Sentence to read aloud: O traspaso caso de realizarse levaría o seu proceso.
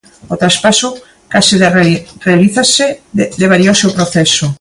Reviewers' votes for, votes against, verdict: 0, 3, rejected